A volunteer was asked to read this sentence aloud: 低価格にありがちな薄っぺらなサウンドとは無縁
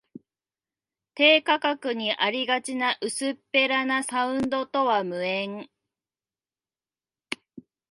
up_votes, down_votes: 2, 0